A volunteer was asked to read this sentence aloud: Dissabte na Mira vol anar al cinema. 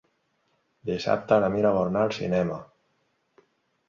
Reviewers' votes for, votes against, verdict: 4, 0, accepted